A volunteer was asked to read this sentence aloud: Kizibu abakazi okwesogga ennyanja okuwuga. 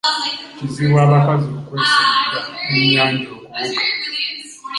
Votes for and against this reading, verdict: 0, 2, rejected